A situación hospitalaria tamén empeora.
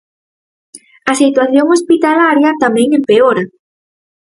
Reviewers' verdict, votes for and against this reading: accepted, 4, 0